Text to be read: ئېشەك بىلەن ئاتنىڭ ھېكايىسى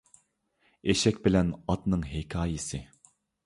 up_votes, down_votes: 2, 0